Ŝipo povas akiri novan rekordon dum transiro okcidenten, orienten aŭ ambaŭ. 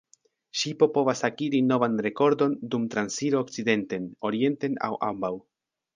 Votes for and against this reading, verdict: 2, 0, accepted